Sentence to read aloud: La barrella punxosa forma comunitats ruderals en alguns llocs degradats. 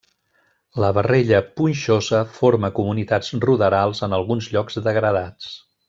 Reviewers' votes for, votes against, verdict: 1, 2, rejected